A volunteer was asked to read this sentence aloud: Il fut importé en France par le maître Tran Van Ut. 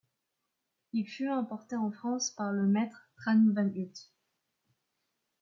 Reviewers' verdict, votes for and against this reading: rejected, 1, 2